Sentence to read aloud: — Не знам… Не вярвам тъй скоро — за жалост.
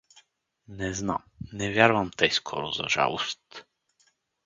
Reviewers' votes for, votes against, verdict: 4, 0, accepted